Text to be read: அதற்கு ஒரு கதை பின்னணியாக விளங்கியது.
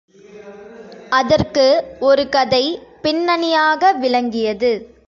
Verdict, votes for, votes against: accepted, 3, 2